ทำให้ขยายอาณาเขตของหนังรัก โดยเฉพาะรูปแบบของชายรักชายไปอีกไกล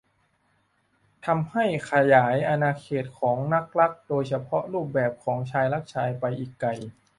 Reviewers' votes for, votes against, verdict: 0, 3, rejected